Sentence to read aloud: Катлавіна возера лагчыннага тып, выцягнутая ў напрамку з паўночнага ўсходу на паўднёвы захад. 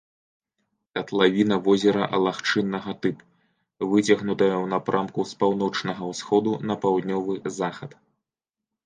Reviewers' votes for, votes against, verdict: 3, 1, accepted